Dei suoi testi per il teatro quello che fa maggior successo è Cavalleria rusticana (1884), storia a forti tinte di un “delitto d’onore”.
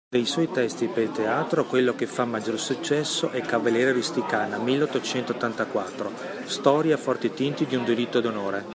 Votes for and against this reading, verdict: 0, 2, rejected